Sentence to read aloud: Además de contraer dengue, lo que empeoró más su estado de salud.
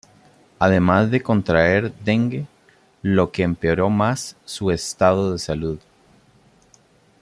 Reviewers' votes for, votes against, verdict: 1, 2, rejected